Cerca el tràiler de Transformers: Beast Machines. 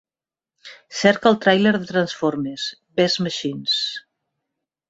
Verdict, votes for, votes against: rejected, 1, 2